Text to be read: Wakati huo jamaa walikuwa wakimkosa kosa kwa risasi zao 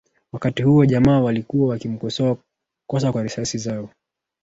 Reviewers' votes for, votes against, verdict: 1, 2, rejected